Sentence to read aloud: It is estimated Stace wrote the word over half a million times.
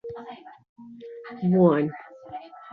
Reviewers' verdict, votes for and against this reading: rejected, 0, 2